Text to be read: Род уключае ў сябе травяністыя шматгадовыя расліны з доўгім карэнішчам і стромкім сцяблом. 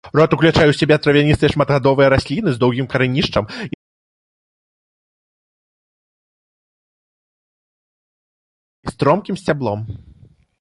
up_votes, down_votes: 0, 2